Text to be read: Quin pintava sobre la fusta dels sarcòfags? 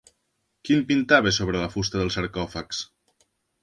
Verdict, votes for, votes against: rejected, 0, 2